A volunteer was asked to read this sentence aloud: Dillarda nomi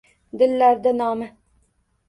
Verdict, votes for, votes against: accepted, 2, 0